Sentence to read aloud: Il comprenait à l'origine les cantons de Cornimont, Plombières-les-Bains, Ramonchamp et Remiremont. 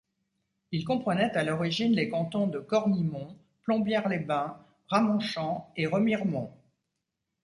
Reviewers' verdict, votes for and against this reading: accepted, 2, 0